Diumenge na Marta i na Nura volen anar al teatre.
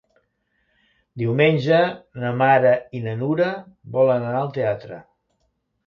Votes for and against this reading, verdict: 1, 2, rejected